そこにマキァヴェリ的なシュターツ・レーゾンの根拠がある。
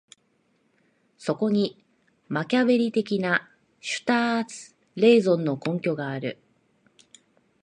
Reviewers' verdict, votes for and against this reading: accepted, 2, 1